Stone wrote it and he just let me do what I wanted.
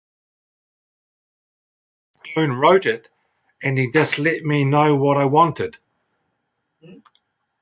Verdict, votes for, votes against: rejected, 1, 2